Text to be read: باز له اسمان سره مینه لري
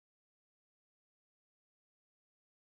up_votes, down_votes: 0, 2